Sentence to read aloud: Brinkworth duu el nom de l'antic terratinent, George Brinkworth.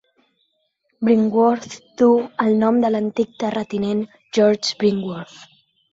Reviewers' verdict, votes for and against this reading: accepted, 3, 0